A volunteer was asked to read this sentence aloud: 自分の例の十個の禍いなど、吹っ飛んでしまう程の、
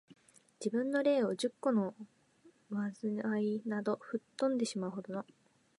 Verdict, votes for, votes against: rejected, 1, 2